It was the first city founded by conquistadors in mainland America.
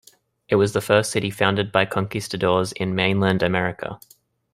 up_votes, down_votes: 2, 0